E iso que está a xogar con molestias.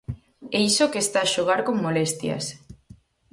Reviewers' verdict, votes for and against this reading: accepted, 4, 0